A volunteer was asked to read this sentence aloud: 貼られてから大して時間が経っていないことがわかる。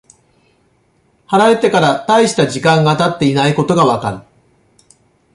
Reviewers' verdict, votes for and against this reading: rejected, 0, 2